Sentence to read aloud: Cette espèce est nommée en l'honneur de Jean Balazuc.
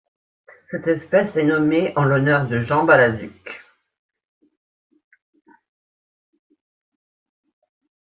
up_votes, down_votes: 2, 0